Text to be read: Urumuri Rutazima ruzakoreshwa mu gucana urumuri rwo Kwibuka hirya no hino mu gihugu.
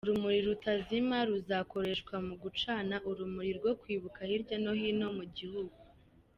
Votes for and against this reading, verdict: 2, 1, accepted